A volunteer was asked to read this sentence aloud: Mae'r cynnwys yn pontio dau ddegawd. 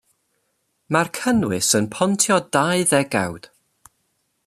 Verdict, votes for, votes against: accepted, 2, 0